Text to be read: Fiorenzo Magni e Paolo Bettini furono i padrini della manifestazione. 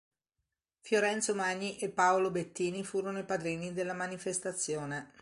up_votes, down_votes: 3, 0